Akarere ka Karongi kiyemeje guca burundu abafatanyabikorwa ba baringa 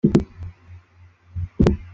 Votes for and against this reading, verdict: 0, 2, rejected